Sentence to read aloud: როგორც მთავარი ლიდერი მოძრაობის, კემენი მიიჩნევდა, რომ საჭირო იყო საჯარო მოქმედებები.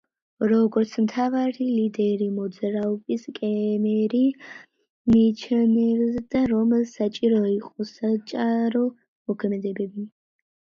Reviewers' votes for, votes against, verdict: 0, 2, rejected